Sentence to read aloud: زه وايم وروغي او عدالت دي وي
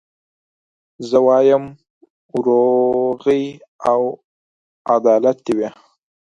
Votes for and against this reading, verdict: 4, 0, accepted